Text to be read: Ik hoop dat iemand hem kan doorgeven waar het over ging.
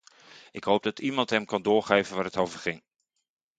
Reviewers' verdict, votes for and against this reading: accepted, 2, 0